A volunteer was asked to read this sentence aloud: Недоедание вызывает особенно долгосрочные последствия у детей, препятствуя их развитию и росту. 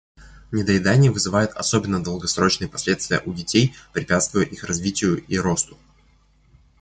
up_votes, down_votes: 2, 0